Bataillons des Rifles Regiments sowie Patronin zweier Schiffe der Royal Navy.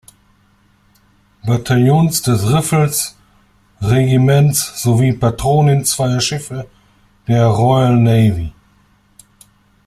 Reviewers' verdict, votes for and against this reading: rejected, 1, 2